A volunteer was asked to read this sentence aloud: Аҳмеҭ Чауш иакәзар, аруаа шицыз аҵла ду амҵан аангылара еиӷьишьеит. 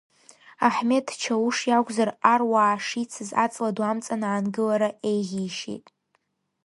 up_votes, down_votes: 2, 0